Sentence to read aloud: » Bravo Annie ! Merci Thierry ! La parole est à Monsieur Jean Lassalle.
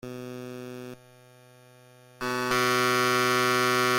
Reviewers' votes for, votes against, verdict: 0, 2, rejected